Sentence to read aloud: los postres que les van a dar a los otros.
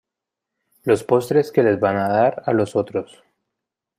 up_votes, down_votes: 2, 0